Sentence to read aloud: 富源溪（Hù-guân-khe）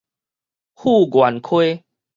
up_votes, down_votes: 2, 2